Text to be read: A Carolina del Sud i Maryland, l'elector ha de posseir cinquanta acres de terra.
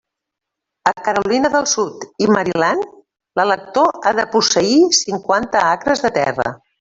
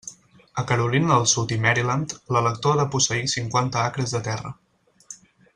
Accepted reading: second